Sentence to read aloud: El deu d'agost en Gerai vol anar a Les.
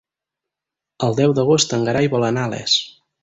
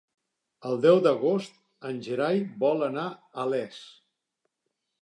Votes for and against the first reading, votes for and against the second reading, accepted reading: 0, 4, 3, 0, second